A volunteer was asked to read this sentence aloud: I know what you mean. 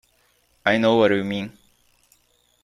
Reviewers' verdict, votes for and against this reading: rejected, 1, 2